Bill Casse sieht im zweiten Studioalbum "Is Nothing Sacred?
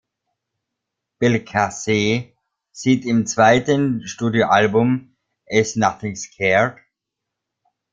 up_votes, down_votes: 0, 3